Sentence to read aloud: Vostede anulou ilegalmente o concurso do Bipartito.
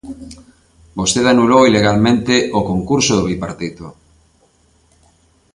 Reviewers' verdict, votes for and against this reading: accepted, 2, 0